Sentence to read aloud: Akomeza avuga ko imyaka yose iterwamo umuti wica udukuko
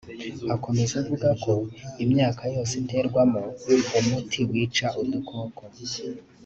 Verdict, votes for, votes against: accepted, 2, 0